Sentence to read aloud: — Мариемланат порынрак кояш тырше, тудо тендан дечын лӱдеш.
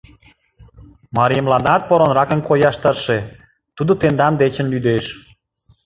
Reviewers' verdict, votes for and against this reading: rejected, 1, 2